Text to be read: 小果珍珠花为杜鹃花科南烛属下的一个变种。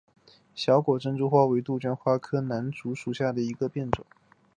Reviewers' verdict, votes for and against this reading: accepted, 3, 0